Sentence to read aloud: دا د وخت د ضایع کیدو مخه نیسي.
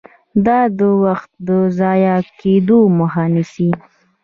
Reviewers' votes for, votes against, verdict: 2, 0, accepted